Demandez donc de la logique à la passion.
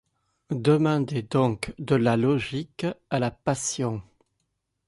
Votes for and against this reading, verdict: 2, 0, accepted